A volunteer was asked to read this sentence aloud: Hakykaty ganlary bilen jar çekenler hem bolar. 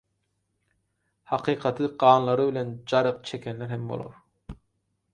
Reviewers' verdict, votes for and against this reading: rejected, 2, 4